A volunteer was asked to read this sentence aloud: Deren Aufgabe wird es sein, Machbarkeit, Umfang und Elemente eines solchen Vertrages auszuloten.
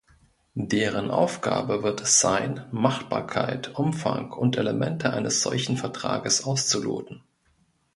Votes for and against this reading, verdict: 2, 0, accepted